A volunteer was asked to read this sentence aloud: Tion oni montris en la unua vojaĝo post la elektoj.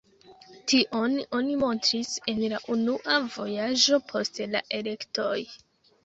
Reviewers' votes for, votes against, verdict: 2, 0, accepted